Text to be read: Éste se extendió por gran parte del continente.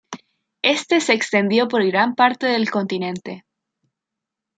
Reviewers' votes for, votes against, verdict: 2, 0, accepted